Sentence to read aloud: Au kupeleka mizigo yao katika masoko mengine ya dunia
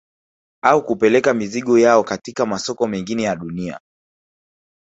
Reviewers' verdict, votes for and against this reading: rejected, 1, 2